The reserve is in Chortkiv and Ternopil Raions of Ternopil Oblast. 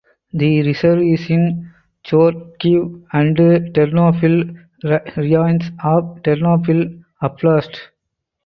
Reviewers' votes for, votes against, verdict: 0, 2, rejected